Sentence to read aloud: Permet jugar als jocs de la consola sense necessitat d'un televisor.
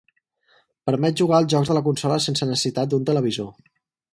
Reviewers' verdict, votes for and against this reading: accepted, 4, 2